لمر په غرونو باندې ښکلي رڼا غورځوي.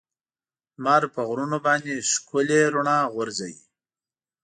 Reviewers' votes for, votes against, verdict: 2, 0, accepted